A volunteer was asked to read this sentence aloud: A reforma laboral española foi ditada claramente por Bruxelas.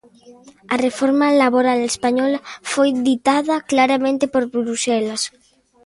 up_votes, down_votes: 1, 2